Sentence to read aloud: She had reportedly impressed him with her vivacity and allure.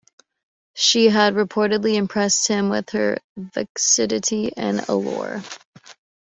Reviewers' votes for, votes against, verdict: 1, 2, rejected